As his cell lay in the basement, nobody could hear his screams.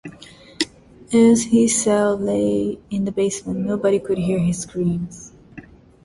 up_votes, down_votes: 2, 0